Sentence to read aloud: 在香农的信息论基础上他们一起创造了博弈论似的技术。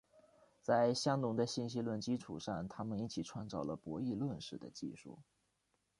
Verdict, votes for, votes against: accepted, 2, 0